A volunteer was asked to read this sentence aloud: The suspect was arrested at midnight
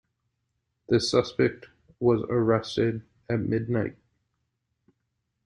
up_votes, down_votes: 2, 0